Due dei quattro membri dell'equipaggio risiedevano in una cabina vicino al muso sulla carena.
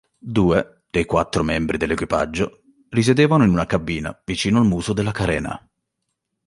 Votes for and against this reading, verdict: 1, 2, rejected